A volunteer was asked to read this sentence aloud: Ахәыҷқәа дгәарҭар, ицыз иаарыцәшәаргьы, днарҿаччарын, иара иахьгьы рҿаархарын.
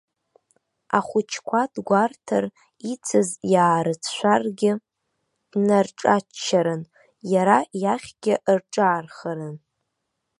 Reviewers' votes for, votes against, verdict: 2, 0, accepted